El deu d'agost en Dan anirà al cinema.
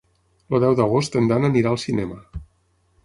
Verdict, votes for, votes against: accepted, 6, 0